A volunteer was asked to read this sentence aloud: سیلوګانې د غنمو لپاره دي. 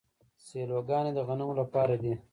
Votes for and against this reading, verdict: 1, 2, rejected